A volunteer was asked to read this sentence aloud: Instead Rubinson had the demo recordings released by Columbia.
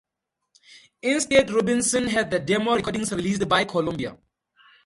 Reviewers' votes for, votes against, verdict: 4, 0, accepted